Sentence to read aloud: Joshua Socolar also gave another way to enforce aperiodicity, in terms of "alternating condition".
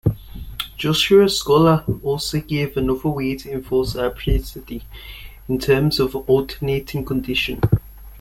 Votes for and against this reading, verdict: 0, 2, rejected